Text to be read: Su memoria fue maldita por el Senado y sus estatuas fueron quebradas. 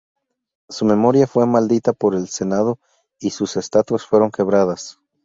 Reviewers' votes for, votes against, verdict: 2, 0, accepted